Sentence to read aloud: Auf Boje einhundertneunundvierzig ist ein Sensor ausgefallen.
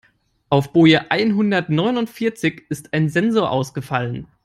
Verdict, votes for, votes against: accepted, 3, 0